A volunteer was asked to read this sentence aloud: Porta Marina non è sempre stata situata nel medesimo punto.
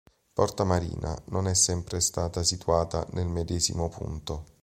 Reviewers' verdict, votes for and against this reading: accepted, 2, 0